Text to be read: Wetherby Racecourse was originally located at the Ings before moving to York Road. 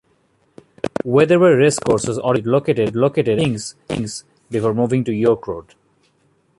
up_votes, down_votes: 0, 2